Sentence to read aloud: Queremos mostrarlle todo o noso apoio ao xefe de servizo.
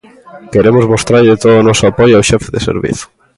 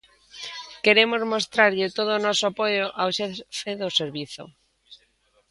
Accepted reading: first